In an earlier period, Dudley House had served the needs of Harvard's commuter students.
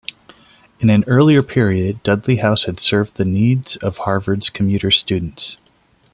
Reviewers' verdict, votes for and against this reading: accepted, 2, 0